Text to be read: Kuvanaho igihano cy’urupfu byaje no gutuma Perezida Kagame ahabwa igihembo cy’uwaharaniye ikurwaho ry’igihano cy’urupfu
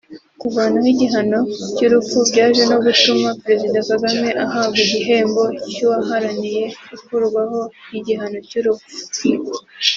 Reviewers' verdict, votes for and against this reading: accepted, 2, 1